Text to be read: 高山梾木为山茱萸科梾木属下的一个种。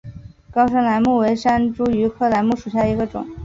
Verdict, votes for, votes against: accepted, 5, 1